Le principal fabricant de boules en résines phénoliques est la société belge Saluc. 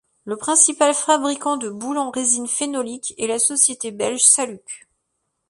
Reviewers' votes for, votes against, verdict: 2, 0, accepted